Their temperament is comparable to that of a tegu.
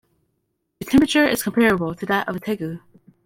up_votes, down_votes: 0, 2